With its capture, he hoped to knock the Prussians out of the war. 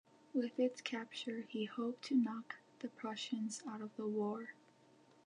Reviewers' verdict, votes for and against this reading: accepted, 2, 0